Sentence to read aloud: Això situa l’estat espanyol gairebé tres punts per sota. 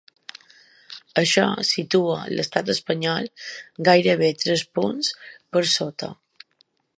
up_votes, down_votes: 3, 0